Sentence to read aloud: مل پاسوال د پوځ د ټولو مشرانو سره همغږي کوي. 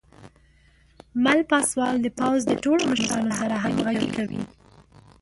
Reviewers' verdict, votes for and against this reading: rejected, 1, 2